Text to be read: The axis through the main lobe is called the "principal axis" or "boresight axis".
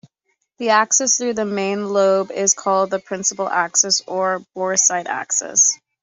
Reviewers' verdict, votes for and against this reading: accepted, 2, 1